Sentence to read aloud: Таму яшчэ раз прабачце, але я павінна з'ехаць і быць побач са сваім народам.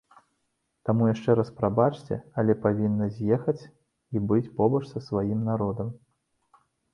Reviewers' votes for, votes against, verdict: 0, 2, rejected